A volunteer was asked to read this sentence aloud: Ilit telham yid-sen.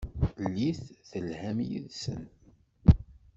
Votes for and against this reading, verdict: 1, 2, rejected